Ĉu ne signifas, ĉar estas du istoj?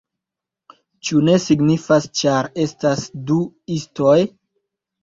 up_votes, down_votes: 2, 0